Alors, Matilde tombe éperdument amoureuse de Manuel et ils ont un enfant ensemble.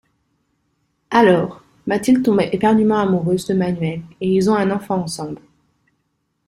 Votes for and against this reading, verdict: 0, 3, rejected